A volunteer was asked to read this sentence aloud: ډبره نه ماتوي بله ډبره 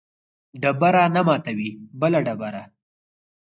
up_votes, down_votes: 4, 0